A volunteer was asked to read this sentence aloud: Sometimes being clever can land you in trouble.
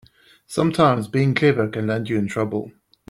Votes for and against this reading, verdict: 3, 0, accepted